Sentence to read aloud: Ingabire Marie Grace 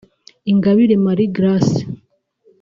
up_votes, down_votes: 2, 0